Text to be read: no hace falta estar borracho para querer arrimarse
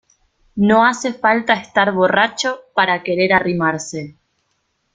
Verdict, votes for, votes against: accepted, 2, 0